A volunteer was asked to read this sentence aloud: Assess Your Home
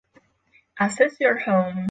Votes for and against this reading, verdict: 6, 0, accepted